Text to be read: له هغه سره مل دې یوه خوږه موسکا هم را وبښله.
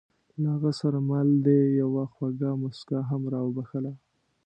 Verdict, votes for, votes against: accepted, 2, 0